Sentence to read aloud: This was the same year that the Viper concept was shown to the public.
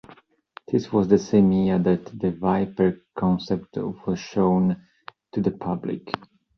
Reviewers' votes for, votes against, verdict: 2, 0, accepted